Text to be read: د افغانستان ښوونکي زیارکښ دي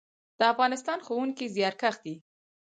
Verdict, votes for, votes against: accepted, 2, 0